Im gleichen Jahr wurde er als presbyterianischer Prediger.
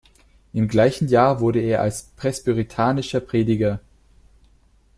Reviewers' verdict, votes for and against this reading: rejected, 1, 2